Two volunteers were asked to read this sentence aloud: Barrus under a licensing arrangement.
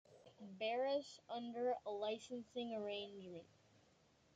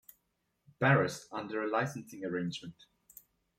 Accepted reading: second